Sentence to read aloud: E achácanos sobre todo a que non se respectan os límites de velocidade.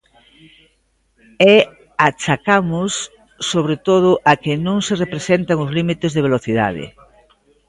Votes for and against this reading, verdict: 0, 2, rejected